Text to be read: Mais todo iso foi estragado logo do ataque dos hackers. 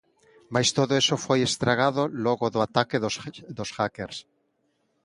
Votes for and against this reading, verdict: 0, 2, rejected